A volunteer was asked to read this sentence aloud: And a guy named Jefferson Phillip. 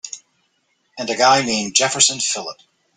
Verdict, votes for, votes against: accepted, 3, 0